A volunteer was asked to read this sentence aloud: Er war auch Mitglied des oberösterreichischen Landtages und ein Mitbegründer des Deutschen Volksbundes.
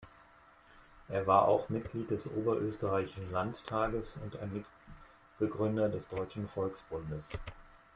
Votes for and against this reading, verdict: 0, 2, rejected